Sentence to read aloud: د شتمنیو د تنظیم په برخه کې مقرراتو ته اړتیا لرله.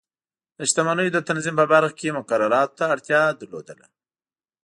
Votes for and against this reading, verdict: 2, 0, accepted